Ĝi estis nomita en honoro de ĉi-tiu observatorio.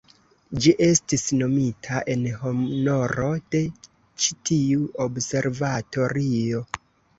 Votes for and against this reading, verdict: 1, 3, rejected